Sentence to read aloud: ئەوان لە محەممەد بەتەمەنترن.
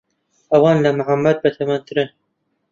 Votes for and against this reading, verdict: 2, 1, accepted